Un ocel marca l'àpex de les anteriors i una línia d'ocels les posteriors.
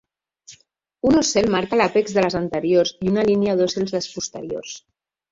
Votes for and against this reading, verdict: 0, 3, rejected